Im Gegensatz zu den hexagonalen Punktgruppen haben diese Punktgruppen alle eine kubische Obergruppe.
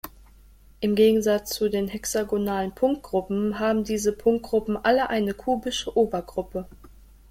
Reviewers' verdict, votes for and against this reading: accepted, 2, 0